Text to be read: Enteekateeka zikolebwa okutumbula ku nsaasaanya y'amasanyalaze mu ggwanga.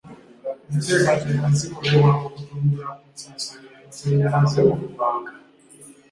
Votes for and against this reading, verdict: 1, 2, rejected